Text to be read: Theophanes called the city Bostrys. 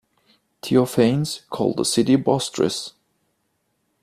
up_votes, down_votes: 2, 0